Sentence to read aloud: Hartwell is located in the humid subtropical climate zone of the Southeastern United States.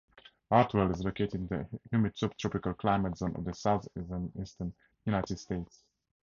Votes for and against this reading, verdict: 0, 4, rejected